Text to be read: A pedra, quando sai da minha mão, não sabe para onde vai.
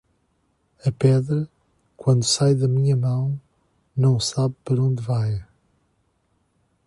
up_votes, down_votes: 1, 2